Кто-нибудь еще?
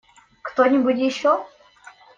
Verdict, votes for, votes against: accepted, 2, 0